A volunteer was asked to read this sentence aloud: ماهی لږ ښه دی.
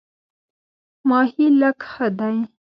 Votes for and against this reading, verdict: 1, 2, rejected